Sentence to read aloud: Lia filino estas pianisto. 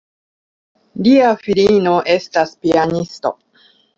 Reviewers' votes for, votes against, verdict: 2, 0, accepted